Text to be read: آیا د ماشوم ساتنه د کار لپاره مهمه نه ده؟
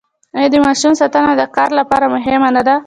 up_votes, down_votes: 2, 0